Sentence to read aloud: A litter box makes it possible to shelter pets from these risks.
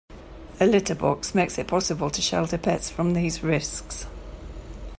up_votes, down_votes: 2, 0